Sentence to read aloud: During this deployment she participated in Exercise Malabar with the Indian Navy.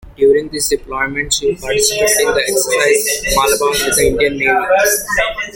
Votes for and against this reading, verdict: 0, 2, rejected